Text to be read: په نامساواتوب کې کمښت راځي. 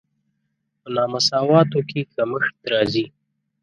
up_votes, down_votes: 2, 6